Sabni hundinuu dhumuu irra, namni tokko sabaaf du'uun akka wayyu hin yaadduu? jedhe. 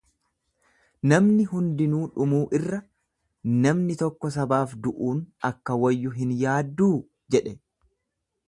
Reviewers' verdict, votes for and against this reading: rejected, 1, 2